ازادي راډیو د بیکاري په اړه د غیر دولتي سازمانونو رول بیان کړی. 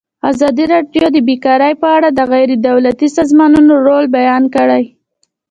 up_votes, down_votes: 2, 1